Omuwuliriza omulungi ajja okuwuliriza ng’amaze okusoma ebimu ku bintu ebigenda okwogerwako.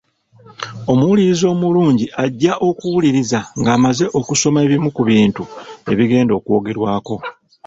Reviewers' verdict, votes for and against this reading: accepted, 2, 0